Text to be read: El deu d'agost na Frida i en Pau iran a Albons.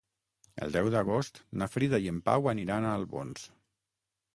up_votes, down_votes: 6, 3